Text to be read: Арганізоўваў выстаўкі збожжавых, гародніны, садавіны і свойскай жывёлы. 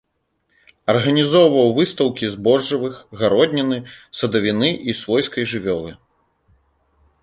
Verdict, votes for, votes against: rejected, 1, 2